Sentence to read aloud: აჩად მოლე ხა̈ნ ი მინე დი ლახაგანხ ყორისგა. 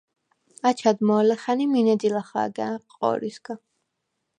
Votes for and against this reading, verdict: 0, 4, rejected